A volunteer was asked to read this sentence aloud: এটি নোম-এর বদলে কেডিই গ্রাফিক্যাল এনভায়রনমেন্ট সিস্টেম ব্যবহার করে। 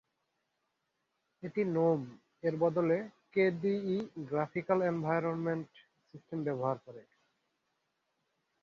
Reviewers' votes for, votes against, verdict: 2, 3, rejected